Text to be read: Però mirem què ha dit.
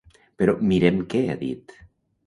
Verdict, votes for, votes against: accepted, 2, 0